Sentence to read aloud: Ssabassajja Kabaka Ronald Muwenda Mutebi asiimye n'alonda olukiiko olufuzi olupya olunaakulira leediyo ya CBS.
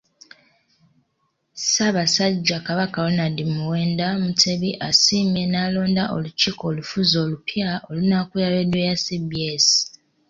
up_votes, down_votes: 2, 0